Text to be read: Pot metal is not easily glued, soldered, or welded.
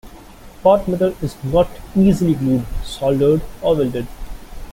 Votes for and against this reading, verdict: 0, 2, rejected